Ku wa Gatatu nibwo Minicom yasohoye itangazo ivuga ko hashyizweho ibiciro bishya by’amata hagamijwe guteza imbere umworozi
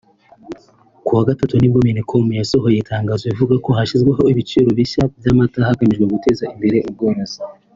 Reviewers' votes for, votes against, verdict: 2, 0, accepted